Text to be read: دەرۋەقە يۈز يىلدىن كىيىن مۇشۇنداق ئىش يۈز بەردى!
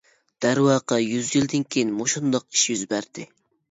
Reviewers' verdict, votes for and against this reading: accepted, 2, 0